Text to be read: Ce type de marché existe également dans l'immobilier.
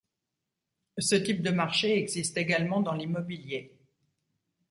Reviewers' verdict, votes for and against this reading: accepted, 2, 0